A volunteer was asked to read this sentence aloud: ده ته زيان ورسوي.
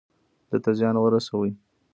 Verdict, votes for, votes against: rejected, 1, 2